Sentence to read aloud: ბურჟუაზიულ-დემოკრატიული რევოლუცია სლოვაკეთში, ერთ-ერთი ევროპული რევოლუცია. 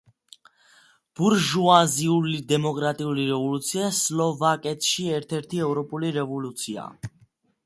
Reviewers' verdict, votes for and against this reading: accepted, 2, 1